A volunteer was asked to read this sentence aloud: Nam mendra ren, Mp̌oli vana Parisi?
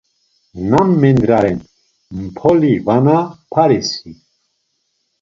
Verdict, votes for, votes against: accepted, 2, 0